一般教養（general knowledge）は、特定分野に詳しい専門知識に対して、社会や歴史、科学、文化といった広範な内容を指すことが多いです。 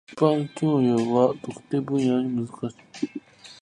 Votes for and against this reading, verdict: 0, 2, rejected